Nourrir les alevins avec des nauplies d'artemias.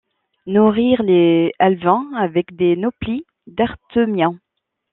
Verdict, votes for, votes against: rejected, 1, 2